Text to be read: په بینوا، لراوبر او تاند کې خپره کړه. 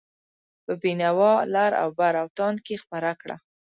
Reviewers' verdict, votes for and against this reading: accepted, 2, 0